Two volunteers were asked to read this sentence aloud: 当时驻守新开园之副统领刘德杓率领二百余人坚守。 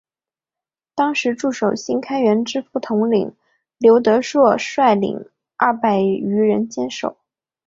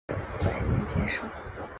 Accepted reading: first